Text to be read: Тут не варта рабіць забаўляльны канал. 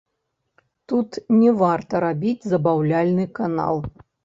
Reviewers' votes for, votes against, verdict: 0, 2, rejected